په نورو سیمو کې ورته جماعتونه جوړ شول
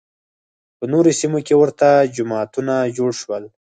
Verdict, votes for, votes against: accepted, 6, 2